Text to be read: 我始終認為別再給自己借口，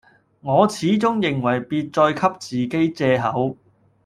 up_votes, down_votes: 0, 2